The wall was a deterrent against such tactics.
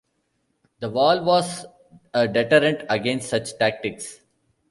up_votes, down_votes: 2, 0